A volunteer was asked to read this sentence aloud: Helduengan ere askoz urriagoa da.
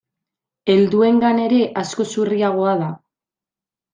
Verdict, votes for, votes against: accepted, 2, 0